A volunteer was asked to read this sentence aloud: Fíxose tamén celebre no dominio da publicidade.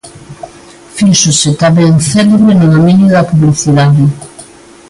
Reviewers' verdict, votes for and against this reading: accepted, 2, 1